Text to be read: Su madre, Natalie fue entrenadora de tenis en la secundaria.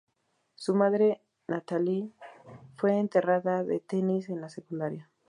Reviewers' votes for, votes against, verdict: 0, 2, rejected